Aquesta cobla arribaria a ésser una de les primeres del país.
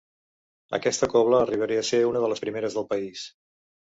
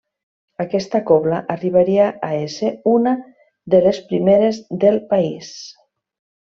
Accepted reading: second